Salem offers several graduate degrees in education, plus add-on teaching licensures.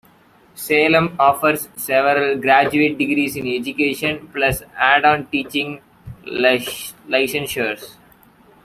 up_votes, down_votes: 0, 2